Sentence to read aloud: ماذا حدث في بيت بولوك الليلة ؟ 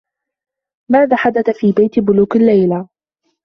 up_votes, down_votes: 2, 1